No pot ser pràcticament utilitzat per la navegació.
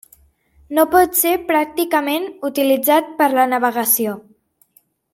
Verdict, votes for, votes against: accepted, 3, 0